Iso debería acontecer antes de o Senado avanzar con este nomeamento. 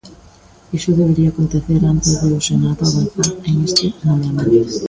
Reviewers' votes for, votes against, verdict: 0, 2, rejected